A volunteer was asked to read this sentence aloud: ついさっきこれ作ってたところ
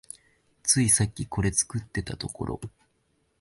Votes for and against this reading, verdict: 2, 0, accepted